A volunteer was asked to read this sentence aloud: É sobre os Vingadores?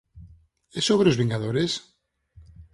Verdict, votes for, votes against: accepted, 4, 0